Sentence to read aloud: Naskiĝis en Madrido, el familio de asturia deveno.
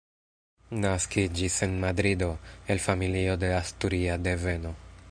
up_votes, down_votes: 2, 0